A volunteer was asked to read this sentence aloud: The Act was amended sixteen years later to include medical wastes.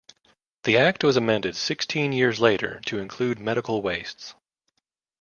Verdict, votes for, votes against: accepted, 3, 0